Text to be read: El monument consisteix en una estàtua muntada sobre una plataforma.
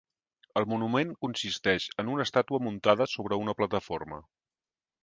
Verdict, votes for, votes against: accepted, 3, 0